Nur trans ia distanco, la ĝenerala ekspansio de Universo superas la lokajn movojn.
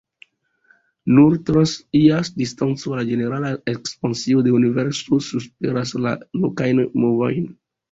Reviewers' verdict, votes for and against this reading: rejected, 1, 2